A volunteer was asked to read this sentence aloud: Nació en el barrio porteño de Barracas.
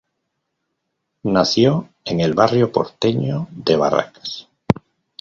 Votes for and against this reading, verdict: 2, 0, accepted